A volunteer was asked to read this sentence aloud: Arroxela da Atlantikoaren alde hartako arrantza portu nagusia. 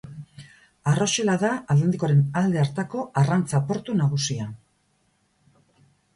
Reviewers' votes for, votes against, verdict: 2, 2, rejected